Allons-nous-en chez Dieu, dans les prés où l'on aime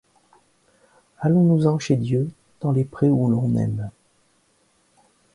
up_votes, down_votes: 1, 2